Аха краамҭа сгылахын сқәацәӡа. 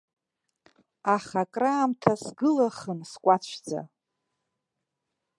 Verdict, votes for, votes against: rejected, 1, 2